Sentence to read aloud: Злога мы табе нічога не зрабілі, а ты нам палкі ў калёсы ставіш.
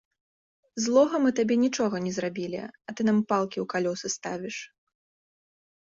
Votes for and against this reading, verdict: 2, 0, accepted